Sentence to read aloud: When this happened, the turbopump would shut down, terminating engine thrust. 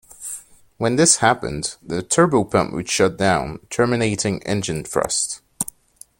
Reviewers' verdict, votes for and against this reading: accepted, 2, 0